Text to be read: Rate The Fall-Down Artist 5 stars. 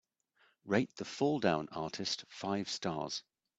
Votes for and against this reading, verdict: 0, 2, rejected